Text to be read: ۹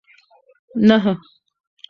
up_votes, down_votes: 0, 2